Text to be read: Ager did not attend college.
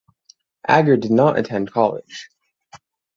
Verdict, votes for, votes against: accepted, 6, 0